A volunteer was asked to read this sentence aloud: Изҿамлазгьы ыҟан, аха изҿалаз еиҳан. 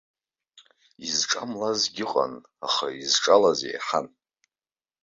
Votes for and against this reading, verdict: 2, 0, accepted